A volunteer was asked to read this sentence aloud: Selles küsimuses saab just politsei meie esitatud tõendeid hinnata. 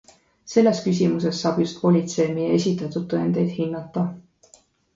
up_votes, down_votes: 2, 0